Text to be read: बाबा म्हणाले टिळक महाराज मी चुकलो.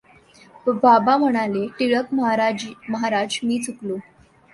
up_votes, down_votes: 1, 2